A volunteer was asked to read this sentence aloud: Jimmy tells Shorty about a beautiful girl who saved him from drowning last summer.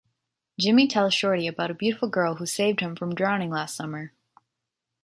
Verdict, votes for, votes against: accepted, 2, 0